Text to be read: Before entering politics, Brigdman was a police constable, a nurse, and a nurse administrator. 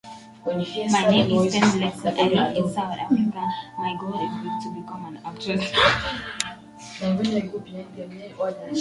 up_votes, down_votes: 0, 2